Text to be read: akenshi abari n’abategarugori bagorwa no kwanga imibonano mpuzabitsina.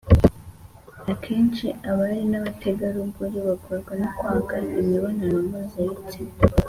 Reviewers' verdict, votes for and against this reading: accepted, 2, 0